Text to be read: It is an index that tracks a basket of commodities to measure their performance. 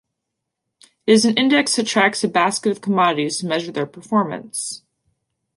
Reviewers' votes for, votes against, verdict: 1, 2, rejected